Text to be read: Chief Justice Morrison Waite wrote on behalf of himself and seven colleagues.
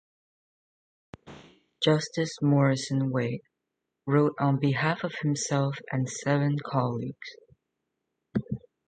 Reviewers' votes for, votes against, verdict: 0, 2, rejected